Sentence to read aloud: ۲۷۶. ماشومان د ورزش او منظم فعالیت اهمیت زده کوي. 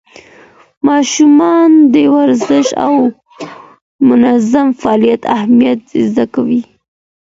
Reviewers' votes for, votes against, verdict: 0, 2, rejected